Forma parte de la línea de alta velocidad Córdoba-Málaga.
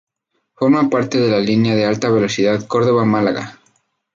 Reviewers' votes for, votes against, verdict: 2, 0, accepted